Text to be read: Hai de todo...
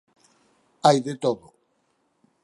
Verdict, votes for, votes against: rejected, 0, 4